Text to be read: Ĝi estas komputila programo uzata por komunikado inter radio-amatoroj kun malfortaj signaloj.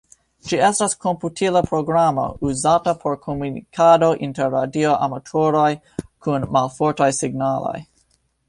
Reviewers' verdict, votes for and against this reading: accepted, 2, 0